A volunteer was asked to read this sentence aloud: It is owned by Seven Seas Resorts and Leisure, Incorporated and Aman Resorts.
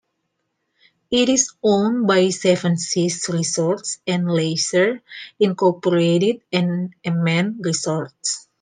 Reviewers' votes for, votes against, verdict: 2, 0, accepted